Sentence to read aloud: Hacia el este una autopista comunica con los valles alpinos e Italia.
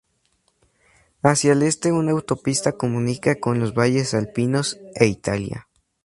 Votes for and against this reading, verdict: 2, 0, accepted